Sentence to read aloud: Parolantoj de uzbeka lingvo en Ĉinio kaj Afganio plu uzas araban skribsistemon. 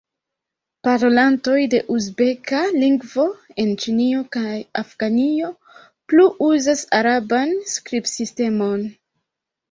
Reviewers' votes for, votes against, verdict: 0, 2, rejected